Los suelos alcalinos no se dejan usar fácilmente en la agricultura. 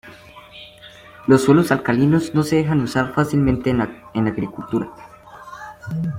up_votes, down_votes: 0, 2